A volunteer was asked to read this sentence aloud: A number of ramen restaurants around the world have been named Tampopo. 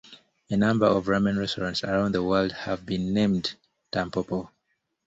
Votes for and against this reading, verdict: 2, 0, accepted